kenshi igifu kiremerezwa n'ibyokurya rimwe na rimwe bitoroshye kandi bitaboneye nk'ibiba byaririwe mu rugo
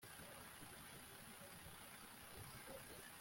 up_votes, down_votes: 0, 2